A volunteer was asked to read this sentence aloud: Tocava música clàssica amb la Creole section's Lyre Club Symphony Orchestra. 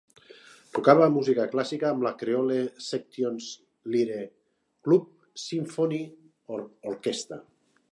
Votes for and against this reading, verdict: 1, 2, rejected